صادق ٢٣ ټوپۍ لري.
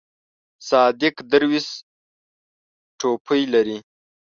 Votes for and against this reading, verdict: 0, 2, rejected